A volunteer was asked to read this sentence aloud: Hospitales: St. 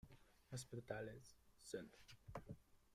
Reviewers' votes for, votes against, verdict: 0, 2, rejected